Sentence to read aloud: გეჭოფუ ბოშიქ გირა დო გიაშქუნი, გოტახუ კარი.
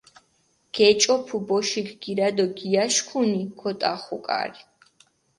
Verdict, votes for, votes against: accepted, 4, 0